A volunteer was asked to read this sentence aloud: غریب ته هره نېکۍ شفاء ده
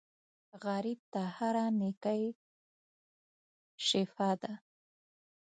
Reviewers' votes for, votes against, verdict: 2, 1, accepted